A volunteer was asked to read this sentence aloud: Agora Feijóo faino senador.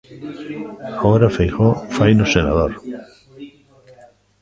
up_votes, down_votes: 1, 2